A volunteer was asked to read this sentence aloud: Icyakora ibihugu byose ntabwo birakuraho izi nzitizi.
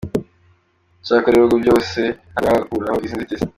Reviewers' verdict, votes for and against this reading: accepted, 2, 0